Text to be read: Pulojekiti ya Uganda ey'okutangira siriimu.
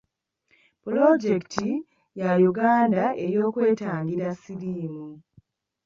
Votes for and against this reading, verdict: 0, 2, rejected